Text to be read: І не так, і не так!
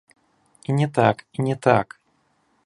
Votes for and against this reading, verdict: 2, 0, accepted